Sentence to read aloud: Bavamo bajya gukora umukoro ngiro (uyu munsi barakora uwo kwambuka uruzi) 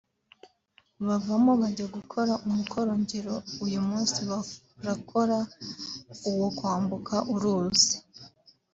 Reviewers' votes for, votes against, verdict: 2, 2, rejected